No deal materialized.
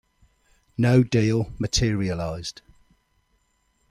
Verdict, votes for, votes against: accepted, 2, 0